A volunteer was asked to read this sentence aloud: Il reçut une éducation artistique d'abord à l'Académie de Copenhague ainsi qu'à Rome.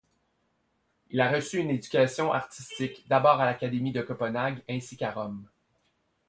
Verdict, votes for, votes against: rejected, 1, 2